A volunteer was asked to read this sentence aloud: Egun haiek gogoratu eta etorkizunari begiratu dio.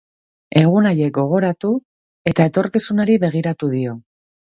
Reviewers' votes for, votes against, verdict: 5, 0, accepted